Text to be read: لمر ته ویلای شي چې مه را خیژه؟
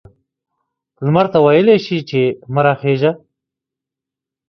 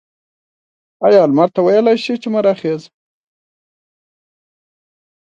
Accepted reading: first